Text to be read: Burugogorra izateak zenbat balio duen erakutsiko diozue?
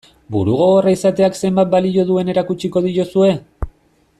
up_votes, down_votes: 2, 0